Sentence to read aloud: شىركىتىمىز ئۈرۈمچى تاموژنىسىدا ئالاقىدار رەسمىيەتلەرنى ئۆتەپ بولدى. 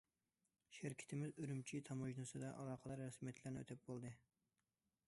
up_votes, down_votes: 2, 0